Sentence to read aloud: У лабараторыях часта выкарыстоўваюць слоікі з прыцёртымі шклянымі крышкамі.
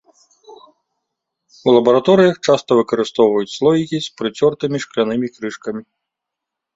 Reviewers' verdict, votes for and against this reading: accepted, 2, 0